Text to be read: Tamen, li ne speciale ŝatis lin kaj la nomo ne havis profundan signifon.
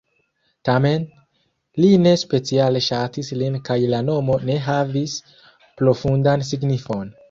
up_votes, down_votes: 1, 2